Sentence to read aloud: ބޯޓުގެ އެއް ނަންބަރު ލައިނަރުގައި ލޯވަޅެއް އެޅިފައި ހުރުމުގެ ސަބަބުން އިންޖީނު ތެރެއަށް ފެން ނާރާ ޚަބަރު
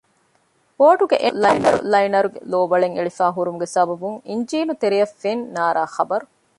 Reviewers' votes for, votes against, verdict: 0, 2, rejected